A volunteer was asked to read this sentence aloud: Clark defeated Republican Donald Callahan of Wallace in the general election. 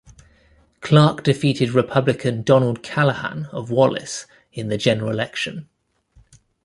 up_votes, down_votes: 2, 0